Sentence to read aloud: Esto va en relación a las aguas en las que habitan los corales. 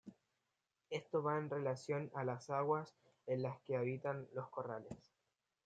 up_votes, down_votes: 1, 2